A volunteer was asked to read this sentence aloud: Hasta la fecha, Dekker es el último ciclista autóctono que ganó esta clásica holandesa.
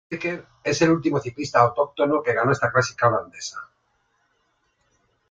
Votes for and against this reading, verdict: 0, 2, rejected